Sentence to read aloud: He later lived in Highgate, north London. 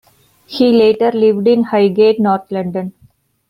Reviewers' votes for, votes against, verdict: 2, 0, accepted